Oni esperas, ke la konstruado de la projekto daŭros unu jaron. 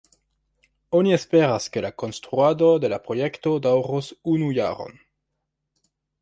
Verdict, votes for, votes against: accepted, 3, 1